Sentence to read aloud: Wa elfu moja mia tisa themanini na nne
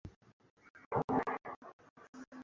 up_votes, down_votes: 0, 2